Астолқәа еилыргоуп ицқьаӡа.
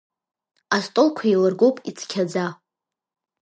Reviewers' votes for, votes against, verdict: 2, 0, accepted